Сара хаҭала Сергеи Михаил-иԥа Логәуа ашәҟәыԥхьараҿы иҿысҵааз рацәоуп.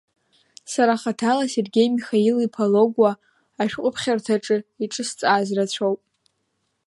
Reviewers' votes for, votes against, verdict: 1, 2, rejected